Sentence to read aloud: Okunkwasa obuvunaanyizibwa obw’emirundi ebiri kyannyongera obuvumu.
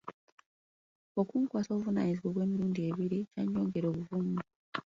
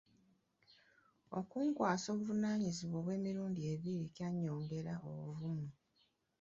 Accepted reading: first